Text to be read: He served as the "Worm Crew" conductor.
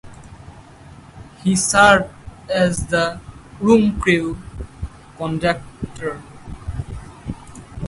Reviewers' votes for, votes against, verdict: 4, 0, accepted